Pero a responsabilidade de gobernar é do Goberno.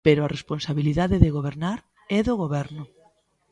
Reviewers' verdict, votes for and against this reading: accepted, 2, 0